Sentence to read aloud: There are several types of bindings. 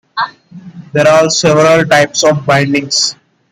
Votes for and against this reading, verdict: 2, 0, accepted